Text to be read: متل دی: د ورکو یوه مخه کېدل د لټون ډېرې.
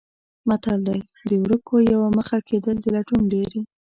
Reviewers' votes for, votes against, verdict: 2, 0, accepted